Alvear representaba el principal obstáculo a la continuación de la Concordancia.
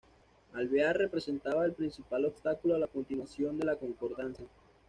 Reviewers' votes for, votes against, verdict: 2, 0, accepted